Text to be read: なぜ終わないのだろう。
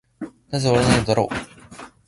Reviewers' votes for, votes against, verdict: 1, 2, rejected